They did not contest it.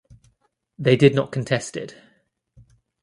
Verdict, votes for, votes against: accepted, 2, 0